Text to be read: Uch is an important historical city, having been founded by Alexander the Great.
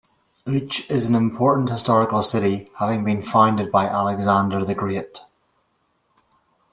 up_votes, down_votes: 1, 2